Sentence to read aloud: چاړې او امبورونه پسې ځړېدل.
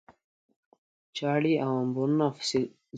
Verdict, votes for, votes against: rejected, 0, 2